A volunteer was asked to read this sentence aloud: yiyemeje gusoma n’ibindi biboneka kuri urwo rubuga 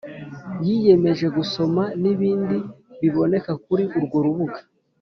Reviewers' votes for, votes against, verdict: 2, 0, accepted